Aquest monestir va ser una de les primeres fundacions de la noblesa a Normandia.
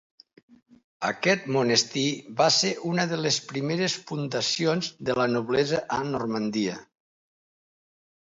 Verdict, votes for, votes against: accepted, 2, 0